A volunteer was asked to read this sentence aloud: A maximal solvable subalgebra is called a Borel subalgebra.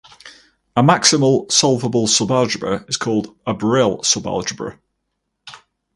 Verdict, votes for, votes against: rejected, 0, 4